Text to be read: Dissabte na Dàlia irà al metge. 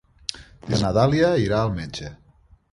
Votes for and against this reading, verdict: 0, 2, rejected